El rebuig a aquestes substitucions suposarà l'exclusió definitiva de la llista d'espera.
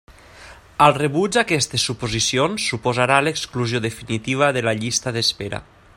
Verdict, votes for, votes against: rejected, 1, 2